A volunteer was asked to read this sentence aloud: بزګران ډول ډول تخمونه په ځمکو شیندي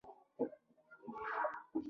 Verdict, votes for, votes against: rejected, 1, 2